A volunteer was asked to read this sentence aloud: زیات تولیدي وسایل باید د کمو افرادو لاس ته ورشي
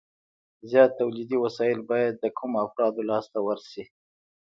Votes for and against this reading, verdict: 1, 2, rejected